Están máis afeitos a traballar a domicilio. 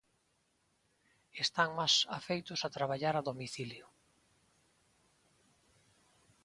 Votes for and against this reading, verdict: 2, 1, accepted